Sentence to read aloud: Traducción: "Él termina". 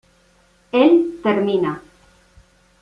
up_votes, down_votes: 0, 2